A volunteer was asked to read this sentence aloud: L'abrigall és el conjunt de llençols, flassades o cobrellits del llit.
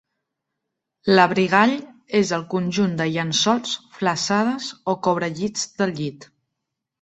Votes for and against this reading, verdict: 2, 0, accepted